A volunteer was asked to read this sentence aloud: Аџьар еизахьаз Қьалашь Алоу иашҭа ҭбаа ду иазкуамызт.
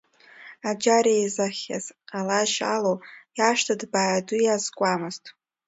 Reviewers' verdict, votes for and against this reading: accepted, 2, 1